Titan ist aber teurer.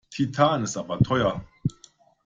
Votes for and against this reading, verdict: 0, 2, rejected